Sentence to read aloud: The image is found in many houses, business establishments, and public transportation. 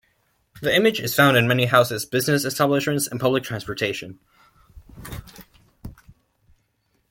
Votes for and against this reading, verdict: 2, 0, accepted